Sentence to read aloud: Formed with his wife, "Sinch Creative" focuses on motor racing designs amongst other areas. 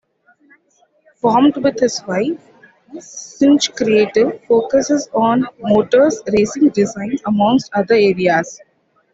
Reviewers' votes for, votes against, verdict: 2, 0, accepted